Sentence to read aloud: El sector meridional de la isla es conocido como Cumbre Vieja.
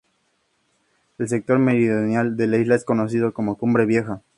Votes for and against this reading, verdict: 2, 0, accepted